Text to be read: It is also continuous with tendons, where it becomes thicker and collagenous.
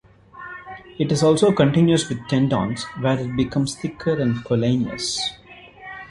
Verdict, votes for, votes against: rejected, 0, 2